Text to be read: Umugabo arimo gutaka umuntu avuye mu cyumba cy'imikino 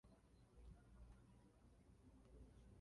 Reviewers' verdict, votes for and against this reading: rejected, 0, 2